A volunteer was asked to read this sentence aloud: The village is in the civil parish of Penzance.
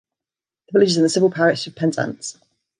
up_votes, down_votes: 2, 0